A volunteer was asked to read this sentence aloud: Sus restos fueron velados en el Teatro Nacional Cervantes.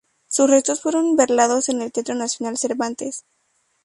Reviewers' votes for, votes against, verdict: 0, 2, rejected